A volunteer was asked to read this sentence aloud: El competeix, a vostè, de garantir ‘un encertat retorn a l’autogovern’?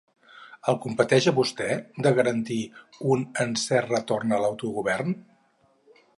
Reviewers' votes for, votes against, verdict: 0, 4, rejected